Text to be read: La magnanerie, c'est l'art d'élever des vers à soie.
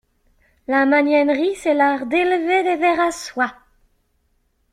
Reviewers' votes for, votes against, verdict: 2, 0, accepted